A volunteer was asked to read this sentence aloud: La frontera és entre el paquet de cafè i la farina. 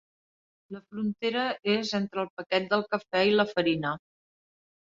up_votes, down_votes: 1, 2